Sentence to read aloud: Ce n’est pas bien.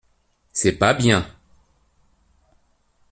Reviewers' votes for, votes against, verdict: 0, 2, rejected